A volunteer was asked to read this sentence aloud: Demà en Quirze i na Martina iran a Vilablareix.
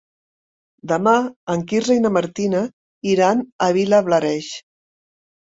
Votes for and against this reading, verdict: 3, 0, accepted